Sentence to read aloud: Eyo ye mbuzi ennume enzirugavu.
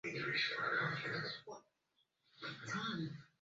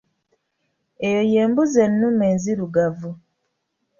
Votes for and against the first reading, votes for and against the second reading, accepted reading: 0, 2, 2, 1, second